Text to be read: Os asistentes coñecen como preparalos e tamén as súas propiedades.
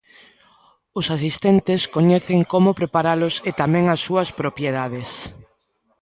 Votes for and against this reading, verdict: 2, 0, accepted